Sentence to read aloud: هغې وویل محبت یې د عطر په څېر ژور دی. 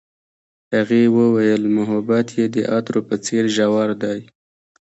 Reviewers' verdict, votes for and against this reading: rejected, 1, 2